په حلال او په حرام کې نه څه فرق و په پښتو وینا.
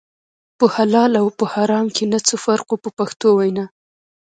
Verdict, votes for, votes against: rejected, 0, 2